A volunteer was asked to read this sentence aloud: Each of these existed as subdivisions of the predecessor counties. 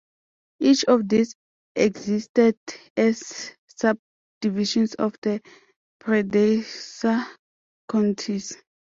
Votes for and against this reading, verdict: 0, 2, rejected